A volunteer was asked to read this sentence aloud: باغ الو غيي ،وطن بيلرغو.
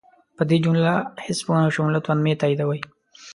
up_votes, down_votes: 0, 2